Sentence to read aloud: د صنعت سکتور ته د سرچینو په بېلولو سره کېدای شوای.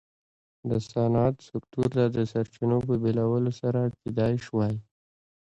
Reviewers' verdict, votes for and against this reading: rejected, 1, 2